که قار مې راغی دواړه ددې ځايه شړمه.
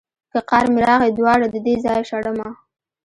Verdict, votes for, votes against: rejected, 0, 2